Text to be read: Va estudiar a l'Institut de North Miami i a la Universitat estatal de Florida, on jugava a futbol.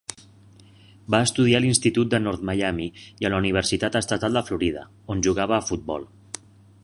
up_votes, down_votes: 3, 0